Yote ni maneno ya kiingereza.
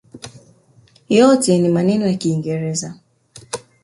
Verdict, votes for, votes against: accepted, 2, 1